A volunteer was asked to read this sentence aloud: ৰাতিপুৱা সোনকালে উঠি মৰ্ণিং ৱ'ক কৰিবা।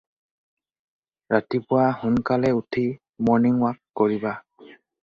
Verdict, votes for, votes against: accepted, 4, 0